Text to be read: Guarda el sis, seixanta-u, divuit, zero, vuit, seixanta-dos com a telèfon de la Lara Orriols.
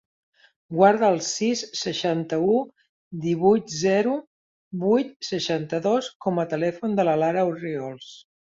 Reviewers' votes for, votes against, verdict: 2, 0, accepted